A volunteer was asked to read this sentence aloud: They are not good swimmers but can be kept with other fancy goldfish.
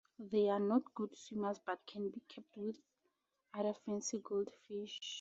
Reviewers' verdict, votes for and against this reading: accepted, 2, 0